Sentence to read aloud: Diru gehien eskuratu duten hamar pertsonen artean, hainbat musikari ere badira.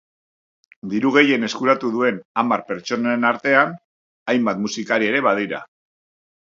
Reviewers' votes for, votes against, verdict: 0, 2, rejected